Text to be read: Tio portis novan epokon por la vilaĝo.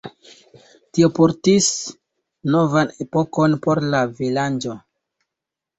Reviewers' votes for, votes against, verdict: 0, 2, rejected